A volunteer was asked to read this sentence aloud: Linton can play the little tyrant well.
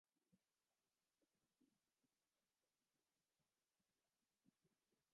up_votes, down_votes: 1, 2